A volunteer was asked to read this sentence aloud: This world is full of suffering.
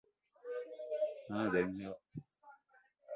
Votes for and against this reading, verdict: 0, 2, rejected